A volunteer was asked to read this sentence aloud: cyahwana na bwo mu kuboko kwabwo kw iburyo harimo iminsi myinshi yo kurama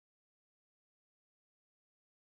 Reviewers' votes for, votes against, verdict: 0, 2, rejected